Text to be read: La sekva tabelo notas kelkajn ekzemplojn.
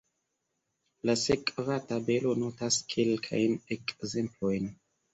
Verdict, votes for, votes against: accepted, 2, 0